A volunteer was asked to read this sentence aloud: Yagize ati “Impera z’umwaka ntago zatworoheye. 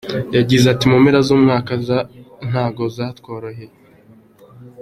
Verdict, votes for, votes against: accepted, 2, 1